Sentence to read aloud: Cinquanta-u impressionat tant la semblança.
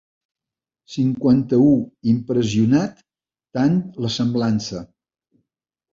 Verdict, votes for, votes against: accepted, 3, 0